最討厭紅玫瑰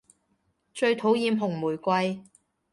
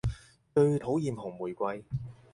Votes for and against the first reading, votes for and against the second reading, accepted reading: 2, 0, 2, 4, first